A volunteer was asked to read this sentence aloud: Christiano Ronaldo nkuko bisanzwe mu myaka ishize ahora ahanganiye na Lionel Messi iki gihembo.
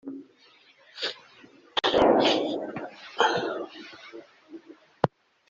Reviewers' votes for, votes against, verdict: 0, 2, rejected